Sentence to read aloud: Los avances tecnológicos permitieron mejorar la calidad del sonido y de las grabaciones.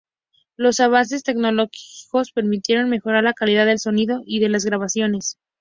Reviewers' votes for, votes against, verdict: 2, 0, accepted